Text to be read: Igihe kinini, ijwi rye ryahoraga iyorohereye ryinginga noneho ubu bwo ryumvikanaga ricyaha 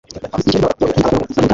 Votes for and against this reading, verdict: 0, 2, rejected